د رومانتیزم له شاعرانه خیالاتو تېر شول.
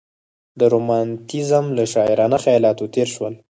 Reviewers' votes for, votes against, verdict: 4, 0, accepted